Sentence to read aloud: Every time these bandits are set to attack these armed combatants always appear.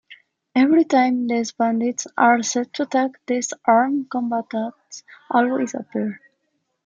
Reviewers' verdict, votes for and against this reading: rejected, 0, 2